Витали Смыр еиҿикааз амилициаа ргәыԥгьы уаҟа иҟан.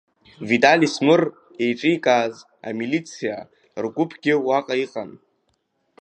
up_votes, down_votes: 3, 1